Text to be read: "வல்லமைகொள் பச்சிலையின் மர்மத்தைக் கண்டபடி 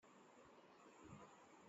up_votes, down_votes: 1, 2